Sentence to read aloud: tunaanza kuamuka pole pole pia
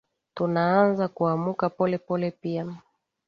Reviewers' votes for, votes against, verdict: 3, 0, accepted